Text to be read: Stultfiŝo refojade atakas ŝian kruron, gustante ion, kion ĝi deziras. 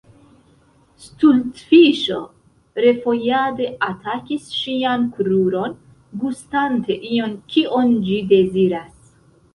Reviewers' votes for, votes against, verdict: 1, 2, rejected